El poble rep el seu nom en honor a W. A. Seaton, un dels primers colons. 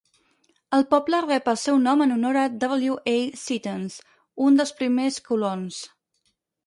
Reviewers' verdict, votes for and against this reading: rejected, 2, 4